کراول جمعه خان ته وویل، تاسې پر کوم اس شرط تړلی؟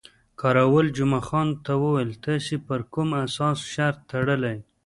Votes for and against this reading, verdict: 2, 1, accepted